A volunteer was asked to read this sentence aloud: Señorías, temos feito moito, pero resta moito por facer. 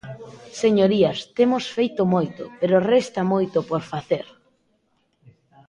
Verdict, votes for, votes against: rejected, 0, 2